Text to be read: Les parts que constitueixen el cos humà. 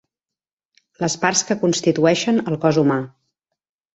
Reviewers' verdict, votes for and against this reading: accepted, 4, 0